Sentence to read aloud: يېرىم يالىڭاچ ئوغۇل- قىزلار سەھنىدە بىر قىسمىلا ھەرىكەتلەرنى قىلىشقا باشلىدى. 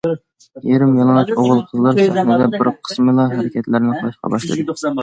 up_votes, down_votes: 0, 2